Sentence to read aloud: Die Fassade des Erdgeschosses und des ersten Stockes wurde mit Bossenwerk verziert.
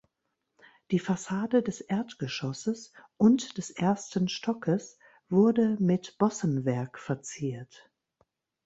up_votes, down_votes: 2, 0